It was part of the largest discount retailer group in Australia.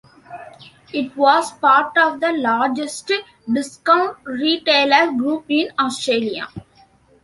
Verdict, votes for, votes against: rejected, 0, 2